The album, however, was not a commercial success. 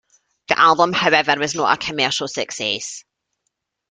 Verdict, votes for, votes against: accepted, 2, 1